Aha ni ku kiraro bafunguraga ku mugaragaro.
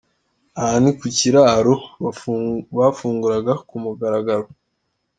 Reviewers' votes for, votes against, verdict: 0, 2, rejected